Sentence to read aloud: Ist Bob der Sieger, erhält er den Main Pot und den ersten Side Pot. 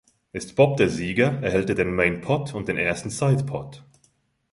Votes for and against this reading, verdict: 2, 0, accepted